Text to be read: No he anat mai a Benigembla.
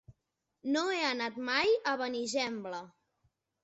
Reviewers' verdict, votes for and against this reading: accepted, 2, 0